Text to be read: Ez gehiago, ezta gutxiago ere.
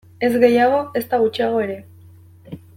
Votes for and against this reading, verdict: 2, 0, accepted